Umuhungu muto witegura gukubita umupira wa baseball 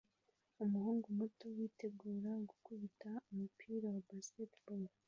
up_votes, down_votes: 2, 0